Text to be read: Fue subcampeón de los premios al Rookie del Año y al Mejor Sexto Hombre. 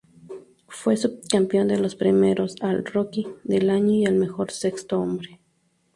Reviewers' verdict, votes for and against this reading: rejected, 0, 4